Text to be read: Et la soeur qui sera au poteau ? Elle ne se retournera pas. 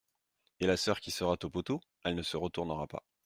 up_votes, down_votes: 0, 2